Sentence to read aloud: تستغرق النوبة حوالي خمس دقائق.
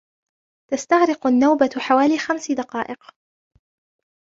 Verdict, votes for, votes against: accepted, 2, 0